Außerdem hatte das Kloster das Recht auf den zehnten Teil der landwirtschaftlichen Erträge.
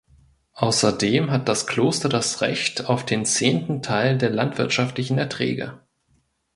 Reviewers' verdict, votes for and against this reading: rejected, 1, 2